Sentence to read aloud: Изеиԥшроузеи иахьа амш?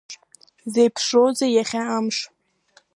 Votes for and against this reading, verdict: 0, 2, rejected